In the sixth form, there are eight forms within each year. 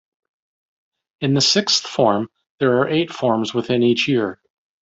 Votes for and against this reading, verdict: 2, 0, accepted